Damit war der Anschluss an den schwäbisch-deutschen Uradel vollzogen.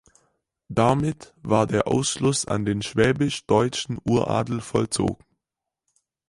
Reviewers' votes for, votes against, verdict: 0, 4, rejected